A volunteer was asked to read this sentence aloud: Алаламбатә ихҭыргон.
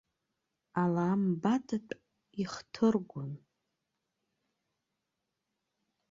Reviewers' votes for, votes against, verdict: 1, 2, rejected